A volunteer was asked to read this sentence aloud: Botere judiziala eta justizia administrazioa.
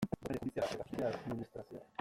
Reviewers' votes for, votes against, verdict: 0, 2, rejected